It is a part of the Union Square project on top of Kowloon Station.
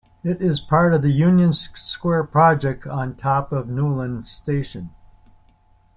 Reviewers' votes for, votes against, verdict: 0, 2, rejected